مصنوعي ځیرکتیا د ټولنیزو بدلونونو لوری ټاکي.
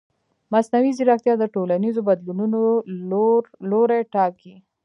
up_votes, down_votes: 0, 2